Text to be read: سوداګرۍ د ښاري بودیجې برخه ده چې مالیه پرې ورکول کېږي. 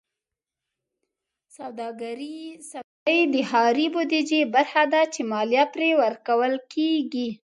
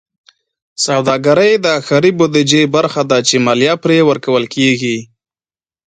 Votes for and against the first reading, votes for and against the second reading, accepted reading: 0, 2, 2, 0, second